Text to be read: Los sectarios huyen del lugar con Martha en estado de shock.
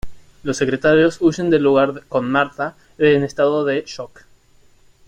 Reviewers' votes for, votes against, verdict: 0, 2, rejected